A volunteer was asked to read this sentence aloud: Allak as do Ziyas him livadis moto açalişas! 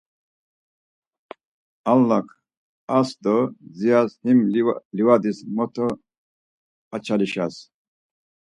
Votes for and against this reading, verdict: 4, 0, accepted